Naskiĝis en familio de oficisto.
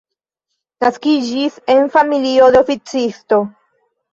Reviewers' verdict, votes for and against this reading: rejected, 1, 2